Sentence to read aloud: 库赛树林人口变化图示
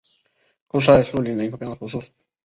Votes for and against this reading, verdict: 2, 0, accepted